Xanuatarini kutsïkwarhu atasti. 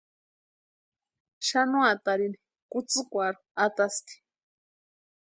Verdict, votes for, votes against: accepted, 2, 0